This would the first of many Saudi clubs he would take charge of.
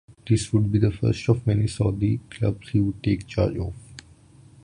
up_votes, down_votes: 3, 0